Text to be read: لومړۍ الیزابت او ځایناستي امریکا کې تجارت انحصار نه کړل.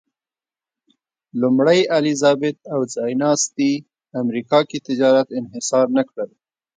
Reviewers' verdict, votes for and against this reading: accepted, 3, 0